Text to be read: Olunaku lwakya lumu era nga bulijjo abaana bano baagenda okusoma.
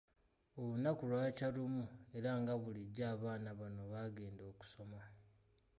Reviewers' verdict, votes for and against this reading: accepted, 2, 0